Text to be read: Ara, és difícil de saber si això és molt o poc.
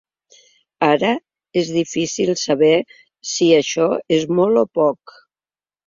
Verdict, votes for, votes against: rejected, 1, 2